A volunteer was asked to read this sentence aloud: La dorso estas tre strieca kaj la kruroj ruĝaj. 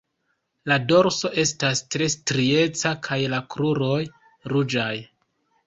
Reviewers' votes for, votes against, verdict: 0, 2, rejected